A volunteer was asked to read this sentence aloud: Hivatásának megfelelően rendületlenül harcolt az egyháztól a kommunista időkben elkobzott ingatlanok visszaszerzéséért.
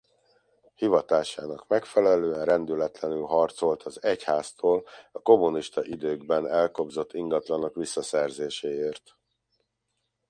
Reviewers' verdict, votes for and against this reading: accepted, 2, 0